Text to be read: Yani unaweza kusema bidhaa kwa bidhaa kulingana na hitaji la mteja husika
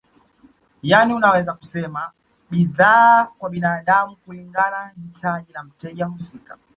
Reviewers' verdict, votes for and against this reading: rejected, 0, 2